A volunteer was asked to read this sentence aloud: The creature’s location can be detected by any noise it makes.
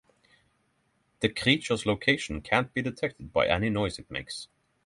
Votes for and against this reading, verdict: 6, 0, accepted